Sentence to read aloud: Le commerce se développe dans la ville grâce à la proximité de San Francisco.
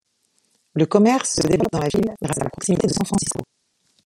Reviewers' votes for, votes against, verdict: 0, 2, rejected